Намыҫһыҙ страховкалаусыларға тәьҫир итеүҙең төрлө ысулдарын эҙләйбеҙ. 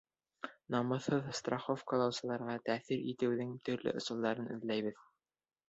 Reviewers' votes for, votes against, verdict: 0, 2, rejected